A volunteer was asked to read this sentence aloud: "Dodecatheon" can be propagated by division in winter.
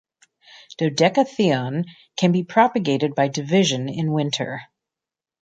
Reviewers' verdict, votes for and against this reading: accepted, 2, 0